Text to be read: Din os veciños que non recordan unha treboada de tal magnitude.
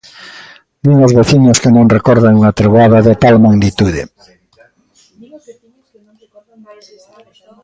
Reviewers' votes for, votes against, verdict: 1, 2, rejected